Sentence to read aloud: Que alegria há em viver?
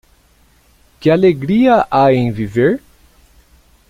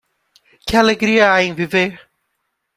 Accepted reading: first